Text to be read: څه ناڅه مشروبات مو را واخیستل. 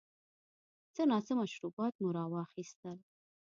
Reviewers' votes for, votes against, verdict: 2, 0, accepted